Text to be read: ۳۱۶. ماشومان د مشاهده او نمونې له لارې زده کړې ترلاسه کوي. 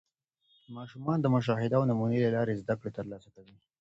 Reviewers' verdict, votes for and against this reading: rejected, 0, 2